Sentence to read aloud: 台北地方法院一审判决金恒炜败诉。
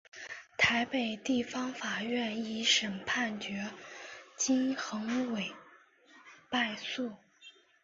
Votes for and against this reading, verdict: 2, 0, accepted